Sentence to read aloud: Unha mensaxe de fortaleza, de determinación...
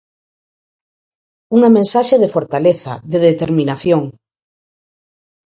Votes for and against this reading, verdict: 4, 0, accepted